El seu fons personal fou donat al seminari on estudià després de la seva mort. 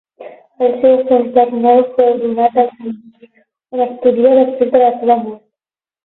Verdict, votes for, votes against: rejected, 0, 12